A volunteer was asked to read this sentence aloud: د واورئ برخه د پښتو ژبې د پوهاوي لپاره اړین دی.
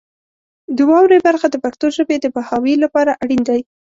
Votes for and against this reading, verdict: 1, 2, rejected